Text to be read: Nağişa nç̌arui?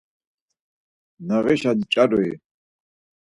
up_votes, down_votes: 4, 0